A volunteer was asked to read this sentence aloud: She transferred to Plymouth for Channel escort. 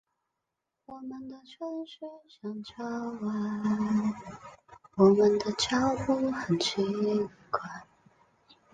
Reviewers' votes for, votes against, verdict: 0, 2, rejected